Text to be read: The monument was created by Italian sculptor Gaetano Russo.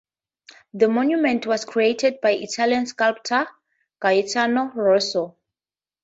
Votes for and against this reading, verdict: 4, 0, accepted